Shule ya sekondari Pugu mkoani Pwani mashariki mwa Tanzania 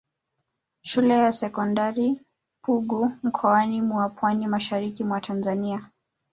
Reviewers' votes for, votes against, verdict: 0, 2, rejected